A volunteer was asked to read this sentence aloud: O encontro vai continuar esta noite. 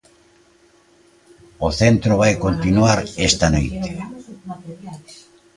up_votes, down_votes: 0, 2